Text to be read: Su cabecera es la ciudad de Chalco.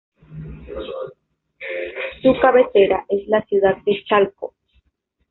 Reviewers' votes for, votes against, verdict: 1, 2, rejected